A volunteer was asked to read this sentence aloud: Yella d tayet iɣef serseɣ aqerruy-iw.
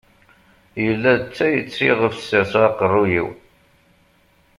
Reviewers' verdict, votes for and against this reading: accepted, 2, 0